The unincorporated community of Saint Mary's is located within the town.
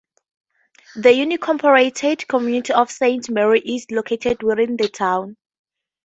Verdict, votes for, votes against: accepted, 2, 0